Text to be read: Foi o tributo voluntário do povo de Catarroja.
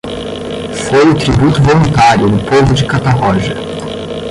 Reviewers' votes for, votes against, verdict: 5, 10, rejected